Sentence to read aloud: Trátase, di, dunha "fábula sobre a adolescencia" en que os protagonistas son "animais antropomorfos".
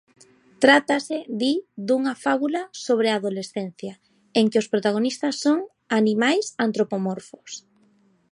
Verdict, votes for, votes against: accepted, 2, 0